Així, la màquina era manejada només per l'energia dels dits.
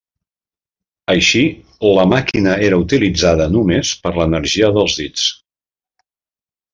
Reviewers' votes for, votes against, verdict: 0, 2, rejected